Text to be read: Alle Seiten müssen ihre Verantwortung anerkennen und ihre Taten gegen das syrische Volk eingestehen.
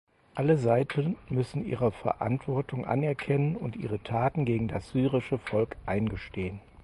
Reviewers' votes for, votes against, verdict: 4, 0, accepted